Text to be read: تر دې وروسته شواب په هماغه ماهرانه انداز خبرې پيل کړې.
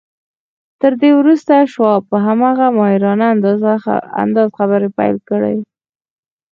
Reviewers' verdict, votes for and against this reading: rejected, 0, 4